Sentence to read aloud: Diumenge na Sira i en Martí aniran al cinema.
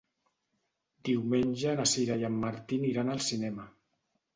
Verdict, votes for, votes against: rejected, 1, 2